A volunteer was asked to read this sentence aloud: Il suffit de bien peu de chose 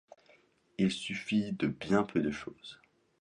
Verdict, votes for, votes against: accepted, 2, 0